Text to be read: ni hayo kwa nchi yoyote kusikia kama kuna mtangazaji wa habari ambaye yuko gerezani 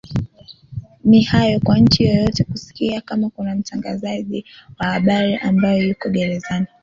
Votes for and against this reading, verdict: 2, 0, accepted